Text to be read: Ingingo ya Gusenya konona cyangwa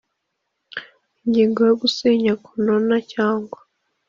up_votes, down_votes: 2, 0